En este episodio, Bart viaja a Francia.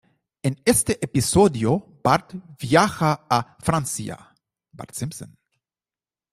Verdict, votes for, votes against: rejected, 0, 2